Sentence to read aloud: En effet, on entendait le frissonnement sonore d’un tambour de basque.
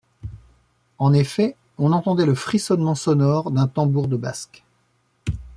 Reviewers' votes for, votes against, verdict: 2, 1, accepted